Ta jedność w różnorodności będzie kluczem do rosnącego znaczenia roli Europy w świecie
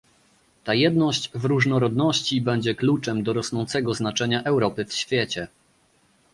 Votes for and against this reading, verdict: 0, 2, rejected